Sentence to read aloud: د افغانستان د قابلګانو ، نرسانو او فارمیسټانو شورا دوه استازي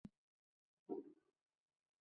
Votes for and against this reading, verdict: 2, 3, rejected